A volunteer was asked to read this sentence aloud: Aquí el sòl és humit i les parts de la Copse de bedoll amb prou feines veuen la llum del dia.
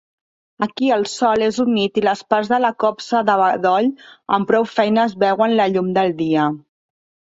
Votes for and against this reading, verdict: 2, 0, accepted